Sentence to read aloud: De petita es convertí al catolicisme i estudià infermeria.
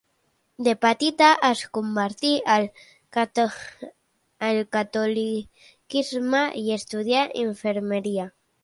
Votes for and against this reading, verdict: 0, 2, rejected